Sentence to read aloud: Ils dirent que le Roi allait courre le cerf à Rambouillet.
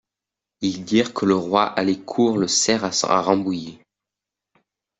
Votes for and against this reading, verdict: 0, 2, rejected